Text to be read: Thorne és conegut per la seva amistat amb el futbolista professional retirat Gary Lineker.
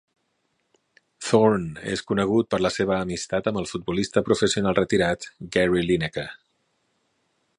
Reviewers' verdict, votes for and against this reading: accepted, 3, 0